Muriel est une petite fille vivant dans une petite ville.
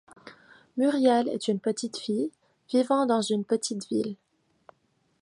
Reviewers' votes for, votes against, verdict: 2, 0, accepted